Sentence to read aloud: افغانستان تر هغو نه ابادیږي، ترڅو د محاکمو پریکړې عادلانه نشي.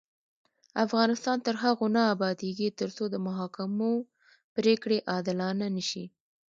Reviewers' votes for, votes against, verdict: 0, 2, rejected